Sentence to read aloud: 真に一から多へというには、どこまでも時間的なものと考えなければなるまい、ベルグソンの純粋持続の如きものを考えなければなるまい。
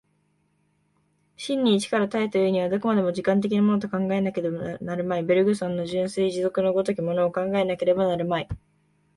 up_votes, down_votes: 1, 2